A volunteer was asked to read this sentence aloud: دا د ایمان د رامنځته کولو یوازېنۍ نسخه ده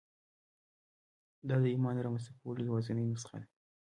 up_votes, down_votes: 2, 1